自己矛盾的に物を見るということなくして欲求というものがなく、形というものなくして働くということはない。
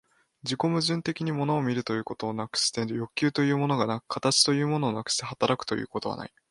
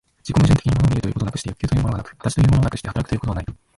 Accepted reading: first